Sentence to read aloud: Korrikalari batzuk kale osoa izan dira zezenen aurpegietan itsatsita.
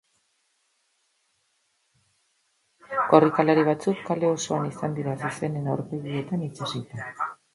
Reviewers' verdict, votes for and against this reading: rejected, 0, 2